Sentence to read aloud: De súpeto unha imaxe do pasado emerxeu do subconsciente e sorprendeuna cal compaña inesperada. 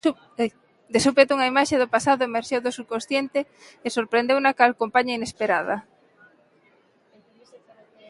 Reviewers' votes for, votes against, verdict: 0, 2, rejected